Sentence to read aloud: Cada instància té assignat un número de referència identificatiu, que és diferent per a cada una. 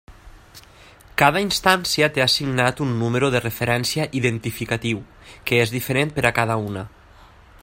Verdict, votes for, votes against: accepted, 3, 0